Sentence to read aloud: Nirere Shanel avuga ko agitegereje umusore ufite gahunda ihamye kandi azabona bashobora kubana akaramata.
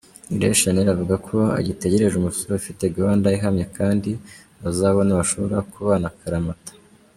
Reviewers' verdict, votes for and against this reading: rejected, 1, 2